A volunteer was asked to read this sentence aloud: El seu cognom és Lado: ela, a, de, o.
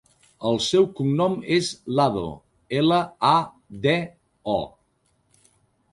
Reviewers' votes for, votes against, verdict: 1, 2, rejected